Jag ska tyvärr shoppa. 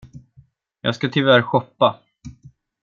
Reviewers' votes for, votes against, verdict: 2, 0, accepted